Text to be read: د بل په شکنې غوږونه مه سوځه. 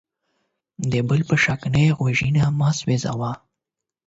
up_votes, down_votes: 4, 8